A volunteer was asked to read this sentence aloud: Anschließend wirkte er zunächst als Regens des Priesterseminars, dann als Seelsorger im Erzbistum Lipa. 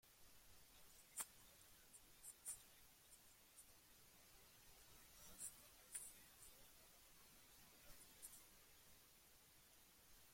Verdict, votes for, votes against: rejected, 0, 2